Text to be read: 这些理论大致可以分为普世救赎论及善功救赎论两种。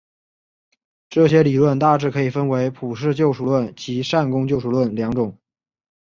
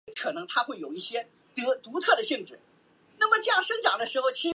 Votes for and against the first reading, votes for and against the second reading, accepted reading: 2, 0, 2, 4, first